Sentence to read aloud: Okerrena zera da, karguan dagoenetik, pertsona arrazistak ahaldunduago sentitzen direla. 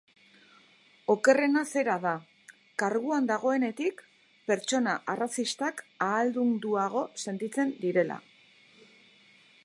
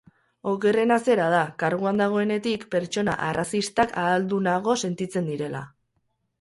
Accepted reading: first